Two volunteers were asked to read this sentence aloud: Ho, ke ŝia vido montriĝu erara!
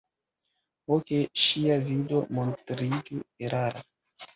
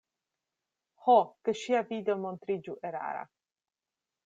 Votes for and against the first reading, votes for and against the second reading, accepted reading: 0, 2, 2, 0, second